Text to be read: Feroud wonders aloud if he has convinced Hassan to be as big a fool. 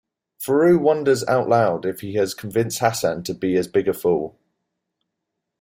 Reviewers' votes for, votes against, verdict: 0, 2, rejected